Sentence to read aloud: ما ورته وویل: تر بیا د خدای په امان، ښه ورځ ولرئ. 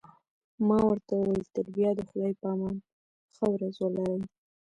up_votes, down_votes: 1, 2